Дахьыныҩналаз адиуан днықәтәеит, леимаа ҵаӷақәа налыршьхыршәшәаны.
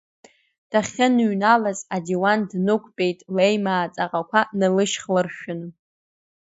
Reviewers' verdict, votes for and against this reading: rejected, 0, 2